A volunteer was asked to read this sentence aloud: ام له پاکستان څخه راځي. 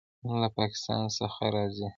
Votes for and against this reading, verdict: 1, 2, rejected